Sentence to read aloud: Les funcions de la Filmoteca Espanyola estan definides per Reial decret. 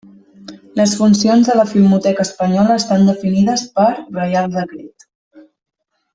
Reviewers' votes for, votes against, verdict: 0, 2, rejected